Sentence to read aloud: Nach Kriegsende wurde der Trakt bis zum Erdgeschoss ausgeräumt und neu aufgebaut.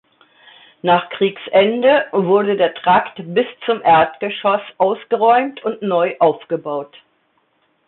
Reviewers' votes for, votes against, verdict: 2, 0, accepted